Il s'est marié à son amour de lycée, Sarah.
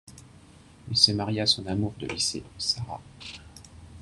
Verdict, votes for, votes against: accepted, 2, 0